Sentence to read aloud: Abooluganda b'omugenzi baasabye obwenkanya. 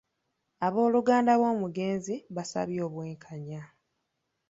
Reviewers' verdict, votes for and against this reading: rejected, 0, 2